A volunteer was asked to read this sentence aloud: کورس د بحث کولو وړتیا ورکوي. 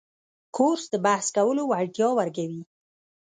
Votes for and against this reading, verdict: 0, 2, rejected